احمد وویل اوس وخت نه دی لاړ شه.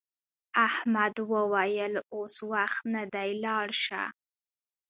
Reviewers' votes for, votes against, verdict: 1, 2, rejected